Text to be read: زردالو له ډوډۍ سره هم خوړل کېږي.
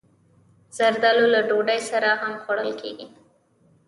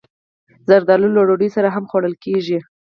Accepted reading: first